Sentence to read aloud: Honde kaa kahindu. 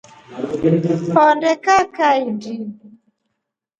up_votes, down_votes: 2, 0